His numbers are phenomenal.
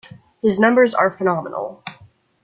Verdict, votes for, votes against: accepted, 2, 0